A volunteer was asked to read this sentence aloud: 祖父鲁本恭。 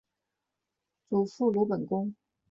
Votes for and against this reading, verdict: 2, 0, accepted